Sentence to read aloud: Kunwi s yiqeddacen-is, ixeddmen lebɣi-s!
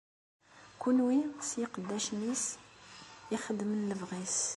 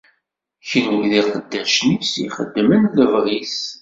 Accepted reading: first